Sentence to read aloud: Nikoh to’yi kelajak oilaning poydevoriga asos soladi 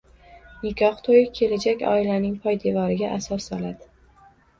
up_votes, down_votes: 1, 2